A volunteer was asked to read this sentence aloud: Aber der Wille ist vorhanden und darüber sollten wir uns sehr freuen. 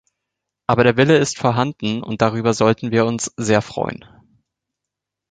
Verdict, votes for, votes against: accepted, 3, 0